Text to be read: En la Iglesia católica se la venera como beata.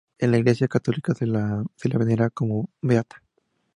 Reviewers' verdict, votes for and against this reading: accepted, 2, 0